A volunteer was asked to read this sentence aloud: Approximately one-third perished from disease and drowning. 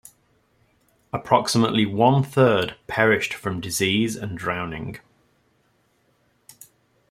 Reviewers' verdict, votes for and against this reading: accepted, 2, 0